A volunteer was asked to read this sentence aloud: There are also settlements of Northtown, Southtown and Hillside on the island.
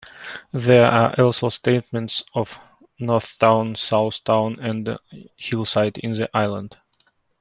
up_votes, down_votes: 0, 2